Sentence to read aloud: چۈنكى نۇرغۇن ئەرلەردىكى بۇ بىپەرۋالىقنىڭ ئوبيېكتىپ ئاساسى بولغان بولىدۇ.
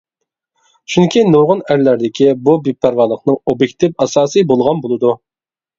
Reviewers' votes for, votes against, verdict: 2, 0, accepted